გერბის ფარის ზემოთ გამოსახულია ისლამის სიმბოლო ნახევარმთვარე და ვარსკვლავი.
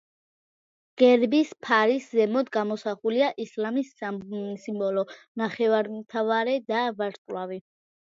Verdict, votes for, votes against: rejected, 0, 2